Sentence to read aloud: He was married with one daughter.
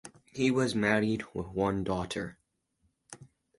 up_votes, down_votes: 4, 0